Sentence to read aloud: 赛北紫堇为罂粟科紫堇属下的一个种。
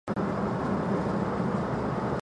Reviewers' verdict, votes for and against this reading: rejected, 0, 3